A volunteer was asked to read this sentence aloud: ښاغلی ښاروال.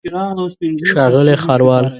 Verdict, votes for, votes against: rejected, 1, 2